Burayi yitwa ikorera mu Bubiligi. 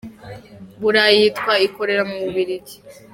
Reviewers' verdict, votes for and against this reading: accepted, 2, 1